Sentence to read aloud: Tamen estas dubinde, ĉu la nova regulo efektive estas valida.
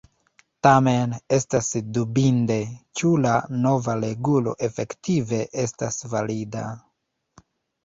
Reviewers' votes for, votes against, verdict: 1, 2, rejected